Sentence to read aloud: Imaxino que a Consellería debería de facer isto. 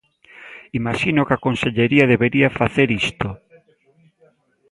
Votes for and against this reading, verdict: 0, 2, rejected